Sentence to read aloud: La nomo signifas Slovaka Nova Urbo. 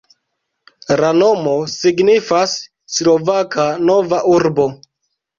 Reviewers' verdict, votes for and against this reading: rejected, 0, 2